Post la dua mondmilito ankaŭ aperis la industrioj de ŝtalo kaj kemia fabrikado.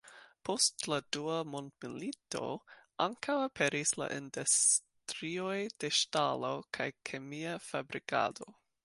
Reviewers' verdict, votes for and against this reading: rejected, 1, 2